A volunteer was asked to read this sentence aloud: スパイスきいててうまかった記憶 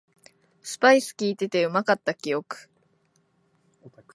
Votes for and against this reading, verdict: 1, 2, rejected